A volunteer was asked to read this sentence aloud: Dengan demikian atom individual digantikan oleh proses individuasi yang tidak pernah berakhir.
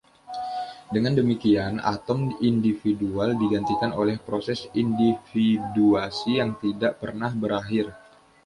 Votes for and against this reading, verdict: 2, 0, accepted